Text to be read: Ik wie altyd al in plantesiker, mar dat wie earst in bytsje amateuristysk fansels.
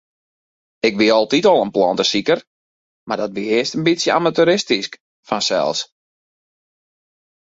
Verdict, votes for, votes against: accepted, 2, 0